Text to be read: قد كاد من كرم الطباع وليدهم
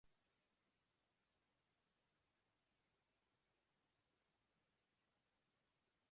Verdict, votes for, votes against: rejected, 0, 2